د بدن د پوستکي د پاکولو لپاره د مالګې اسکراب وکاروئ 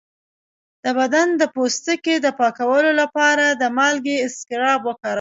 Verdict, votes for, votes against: accepted, 2, 0